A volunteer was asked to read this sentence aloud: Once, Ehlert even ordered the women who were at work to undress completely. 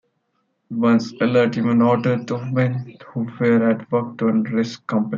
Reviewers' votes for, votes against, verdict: 0, 2, rejected